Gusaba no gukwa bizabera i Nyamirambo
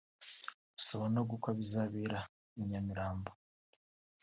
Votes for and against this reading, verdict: 0, 3, rejected